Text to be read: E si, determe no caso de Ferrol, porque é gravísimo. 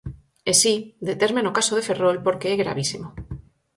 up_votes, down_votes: 4, 0